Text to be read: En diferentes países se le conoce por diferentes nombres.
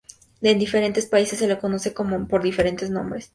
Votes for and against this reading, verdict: 0, 2, rejected